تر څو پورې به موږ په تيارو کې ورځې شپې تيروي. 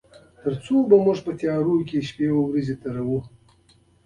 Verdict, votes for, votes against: accepted, 2, 0